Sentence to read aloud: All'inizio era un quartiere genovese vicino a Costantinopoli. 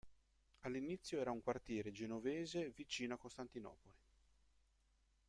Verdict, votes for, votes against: accepted, 2, 0